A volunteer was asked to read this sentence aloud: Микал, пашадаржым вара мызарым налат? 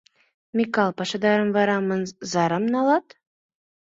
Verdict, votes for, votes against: rejected, 0, 2